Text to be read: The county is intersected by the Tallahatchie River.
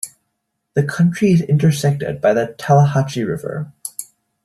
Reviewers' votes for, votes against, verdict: 1, 2, rejected